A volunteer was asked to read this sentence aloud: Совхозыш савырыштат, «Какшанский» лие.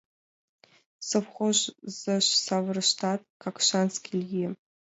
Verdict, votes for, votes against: rejected, 1, 2